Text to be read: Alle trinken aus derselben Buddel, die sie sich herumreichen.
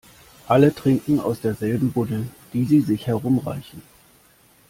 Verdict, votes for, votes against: accepted, 2, 0